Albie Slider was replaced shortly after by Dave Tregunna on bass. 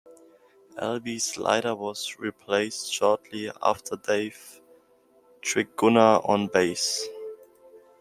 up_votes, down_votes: 1, 2